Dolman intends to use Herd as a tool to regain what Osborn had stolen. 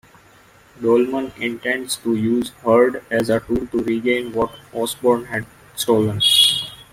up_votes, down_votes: 1, 2